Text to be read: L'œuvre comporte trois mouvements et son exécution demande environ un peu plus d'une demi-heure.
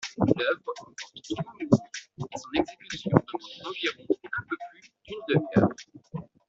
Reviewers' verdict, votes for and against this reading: rejected, 0, 2